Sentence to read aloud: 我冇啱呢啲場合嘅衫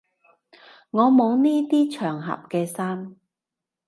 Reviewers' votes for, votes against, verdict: 0, 2, rejected